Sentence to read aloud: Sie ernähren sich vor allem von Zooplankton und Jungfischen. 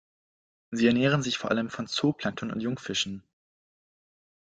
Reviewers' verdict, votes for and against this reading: accepted, 2, 0